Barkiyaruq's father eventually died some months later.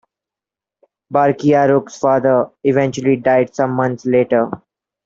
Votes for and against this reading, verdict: 2, 0, accepted